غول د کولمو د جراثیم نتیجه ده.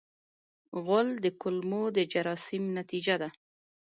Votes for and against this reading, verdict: 1, 2, rejected